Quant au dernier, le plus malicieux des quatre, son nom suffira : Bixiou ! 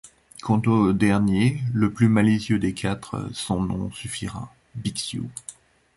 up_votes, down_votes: 2, 0